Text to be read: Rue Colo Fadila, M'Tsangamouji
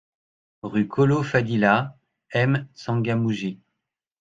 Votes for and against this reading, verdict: 2, 0, accepted